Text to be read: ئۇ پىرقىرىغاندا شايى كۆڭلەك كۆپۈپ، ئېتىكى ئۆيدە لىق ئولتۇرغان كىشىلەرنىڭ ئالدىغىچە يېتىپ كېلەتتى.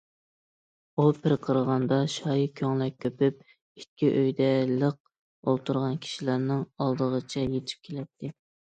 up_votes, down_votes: 2, 1